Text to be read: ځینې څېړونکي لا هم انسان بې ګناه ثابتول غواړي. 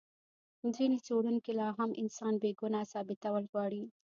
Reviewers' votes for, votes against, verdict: 2, 0, accepted